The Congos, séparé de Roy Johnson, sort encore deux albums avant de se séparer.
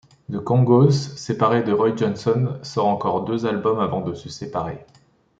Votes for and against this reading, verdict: 2, 0, accepted